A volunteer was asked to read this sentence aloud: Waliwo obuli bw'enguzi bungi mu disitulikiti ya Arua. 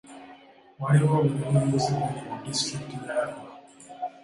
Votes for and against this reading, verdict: 0, 3, rejected